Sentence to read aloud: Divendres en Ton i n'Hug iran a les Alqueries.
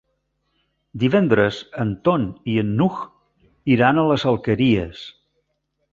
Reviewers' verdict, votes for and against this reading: rejected, 1, 2